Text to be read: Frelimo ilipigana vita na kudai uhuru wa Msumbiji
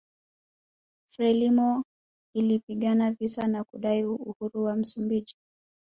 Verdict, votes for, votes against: rejected, 0, 2